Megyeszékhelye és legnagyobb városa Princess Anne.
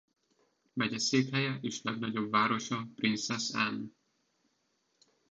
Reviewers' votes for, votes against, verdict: 2, 0, accepted